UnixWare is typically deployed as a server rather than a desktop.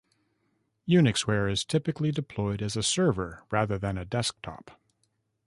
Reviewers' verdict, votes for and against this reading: rejected, 1, 2